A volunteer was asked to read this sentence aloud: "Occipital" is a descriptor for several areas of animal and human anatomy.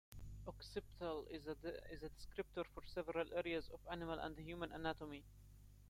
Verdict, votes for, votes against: rejected, 0, 2